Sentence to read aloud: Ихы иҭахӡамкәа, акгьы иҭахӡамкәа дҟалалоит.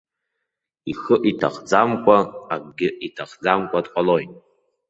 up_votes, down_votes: 0, 2